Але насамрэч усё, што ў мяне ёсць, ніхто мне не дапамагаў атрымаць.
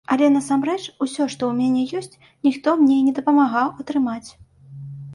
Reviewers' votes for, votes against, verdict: 2, 0, accepted